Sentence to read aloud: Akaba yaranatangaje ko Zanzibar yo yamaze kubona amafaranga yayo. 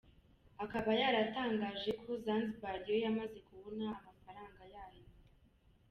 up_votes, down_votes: 1, 2